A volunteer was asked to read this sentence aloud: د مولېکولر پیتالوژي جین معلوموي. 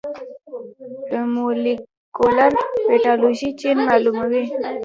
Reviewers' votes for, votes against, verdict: 1, 2, rejected